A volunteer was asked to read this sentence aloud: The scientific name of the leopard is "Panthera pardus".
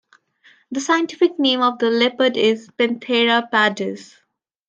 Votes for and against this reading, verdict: 2, 0, accepted